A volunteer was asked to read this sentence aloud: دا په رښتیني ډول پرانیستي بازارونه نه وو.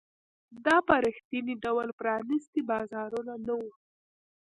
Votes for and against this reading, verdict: 2, 0, accepted